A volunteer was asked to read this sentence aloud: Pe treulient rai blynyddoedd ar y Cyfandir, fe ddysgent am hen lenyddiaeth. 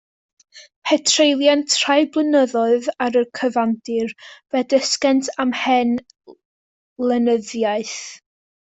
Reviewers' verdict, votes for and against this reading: accepted, 2, 0